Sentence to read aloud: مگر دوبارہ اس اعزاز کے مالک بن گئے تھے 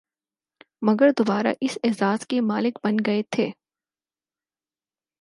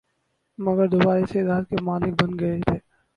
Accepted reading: first